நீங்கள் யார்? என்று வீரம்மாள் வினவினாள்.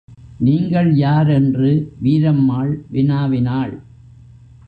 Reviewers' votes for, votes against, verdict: 1, 2, rejected